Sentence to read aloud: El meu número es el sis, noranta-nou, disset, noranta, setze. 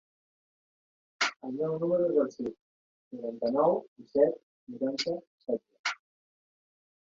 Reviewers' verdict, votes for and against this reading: rejected, 1, 2